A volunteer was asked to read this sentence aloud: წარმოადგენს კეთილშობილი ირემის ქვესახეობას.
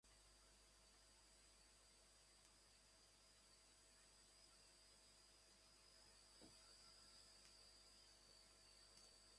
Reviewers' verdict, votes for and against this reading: rejected, 0, 2